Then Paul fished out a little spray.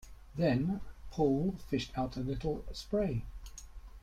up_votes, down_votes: 0, 2